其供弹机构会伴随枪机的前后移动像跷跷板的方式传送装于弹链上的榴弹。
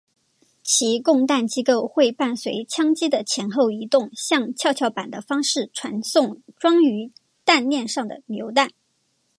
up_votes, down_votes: 3, 0